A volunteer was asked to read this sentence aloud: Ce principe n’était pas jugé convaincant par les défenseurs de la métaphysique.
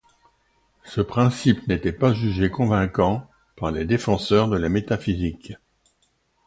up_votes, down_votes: 2, 0